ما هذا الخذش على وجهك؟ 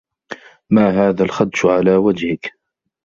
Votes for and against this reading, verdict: 0, 2, rejected